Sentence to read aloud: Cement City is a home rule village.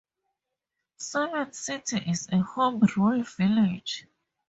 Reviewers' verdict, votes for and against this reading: accepted, 2, 0